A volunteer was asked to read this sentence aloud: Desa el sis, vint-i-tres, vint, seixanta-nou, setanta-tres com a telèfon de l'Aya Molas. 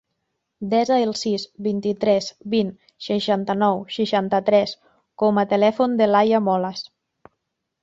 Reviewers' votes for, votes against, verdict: 0, 2, rejected